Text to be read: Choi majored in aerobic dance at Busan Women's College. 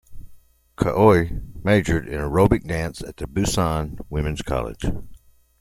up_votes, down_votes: 2, 0